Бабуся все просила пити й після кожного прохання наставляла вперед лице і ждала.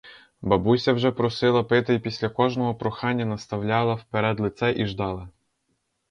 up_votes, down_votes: 0, 4